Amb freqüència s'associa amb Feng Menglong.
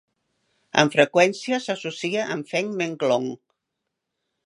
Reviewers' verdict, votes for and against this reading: accepted, 2, 0